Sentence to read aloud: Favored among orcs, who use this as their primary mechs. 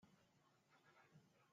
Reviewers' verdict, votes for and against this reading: rejected, 0, 2